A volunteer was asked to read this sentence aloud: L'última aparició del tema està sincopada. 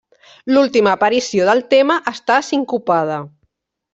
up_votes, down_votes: 3, 0